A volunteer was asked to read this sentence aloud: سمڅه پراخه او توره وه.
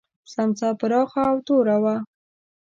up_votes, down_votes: 1, 2